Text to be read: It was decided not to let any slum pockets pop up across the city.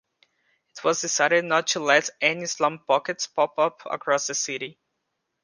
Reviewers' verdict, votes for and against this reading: rejected, 1, 2